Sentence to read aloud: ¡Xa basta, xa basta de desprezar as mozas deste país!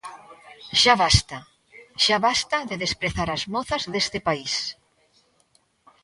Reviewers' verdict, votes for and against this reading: accepted, 2, 0